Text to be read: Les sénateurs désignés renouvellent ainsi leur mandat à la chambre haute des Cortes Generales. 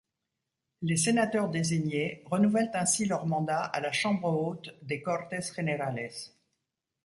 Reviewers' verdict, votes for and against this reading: accepted, 2, 0